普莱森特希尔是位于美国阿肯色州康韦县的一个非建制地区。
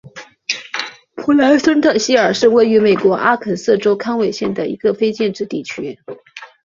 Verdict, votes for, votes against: accepted, 2, 0